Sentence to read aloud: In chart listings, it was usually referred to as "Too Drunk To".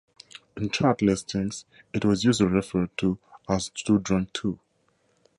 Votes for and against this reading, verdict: 2, 0, accepted